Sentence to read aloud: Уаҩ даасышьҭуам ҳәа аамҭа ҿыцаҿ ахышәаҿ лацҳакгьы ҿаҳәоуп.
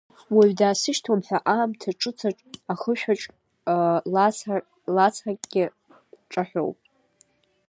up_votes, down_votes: 1, 2